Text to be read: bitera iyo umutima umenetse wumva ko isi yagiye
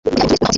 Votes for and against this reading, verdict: 0, 2, rejected